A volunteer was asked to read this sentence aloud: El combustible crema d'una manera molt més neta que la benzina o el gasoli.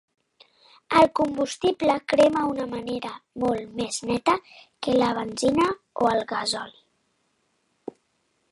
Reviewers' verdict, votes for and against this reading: rejected, 0, 2